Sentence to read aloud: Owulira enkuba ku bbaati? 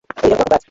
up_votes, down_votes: 0, 2